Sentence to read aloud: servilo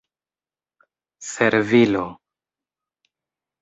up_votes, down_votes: 2, 1